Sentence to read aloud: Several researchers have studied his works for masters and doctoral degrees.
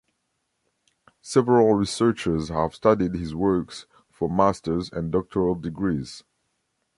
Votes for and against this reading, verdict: 2, 0, accepted